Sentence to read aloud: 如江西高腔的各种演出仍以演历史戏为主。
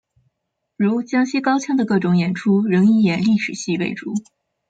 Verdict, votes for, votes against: accepted, 2, 0